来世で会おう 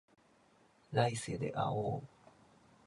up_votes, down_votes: 2, 0